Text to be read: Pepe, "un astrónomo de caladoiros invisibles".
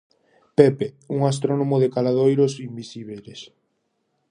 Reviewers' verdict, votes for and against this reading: rejected, 0, 2